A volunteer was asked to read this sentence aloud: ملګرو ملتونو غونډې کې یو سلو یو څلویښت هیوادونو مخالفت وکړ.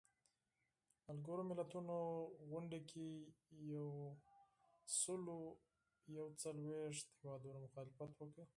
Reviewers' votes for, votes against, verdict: 0, 4, rejected